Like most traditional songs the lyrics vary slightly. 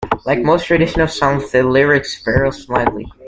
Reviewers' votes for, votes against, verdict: 1, 2, rejected